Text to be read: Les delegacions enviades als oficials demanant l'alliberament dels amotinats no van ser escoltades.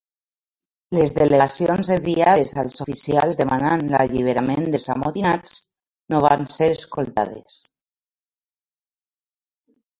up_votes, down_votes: 0, 3